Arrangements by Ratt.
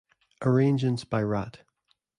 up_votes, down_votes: 0, 2